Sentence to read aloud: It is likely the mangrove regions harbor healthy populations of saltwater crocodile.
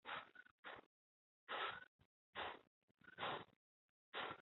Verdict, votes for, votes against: rejected, 0, 2